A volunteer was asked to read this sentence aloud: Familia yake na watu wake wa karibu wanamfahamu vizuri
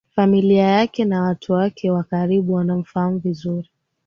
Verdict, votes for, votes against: accepted, 2, 0